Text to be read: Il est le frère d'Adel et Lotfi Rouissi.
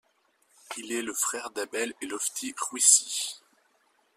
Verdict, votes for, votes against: rejected, 1, 2